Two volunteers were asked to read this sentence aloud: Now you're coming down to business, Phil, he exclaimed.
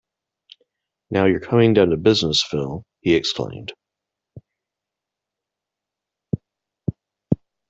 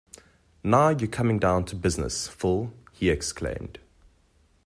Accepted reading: second